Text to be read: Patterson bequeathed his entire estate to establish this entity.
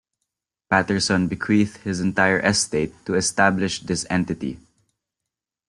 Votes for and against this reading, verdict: 2, 0, accepted